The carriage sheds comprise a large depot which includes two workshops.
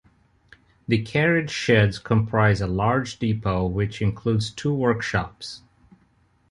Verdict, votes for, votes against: accepted, 2, 0